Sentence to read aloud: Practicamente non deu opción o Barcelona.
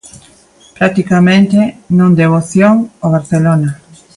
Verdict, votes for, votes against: accepted, 3, 0